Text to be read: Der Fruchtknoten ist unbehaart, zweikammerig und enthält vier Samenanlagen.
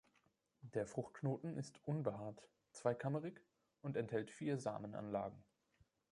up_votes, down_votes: 1, 2